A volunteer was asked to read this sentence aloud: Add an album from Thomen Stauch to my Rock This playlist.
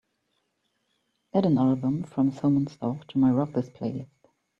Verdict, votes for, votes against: accepted, 2, 1